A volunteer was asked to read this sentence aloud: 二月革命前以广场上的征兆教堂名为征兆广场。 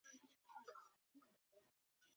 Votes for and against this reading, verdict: 3, 2, accepted